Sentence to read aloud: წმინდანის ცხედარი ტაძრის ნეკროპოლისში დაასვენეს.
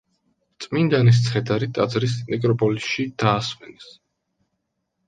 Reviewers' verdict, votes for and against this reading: accepted, 2, 0